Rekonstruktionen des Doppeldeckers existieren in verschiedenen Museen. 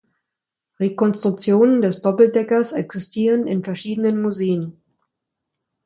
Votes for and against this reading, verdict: 2, 0, accepted